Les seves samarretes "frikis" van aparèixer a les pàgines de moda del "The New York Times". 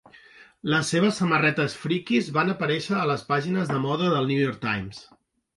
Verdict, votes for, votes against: rejected, 1, 2